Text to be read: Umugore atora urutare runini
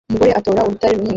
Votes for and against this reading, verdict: 1, 2, rejected